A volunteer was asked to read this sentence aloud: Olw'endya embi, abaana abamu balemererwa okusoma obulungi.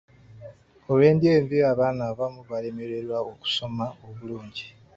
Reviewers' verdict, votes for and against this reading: accepted, 3, 0